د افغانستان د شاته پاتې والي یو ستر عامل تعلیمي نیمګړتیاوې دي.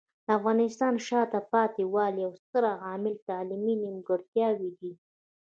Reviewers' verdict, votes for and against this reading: rejected, 0, 2